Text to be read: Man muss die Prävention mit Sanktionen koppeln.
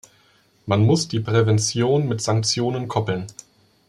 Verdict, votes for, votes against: accepted, 2, 0